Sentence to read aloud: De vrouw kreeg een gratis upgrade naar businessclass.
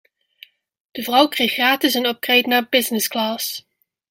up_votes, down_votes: 0, 2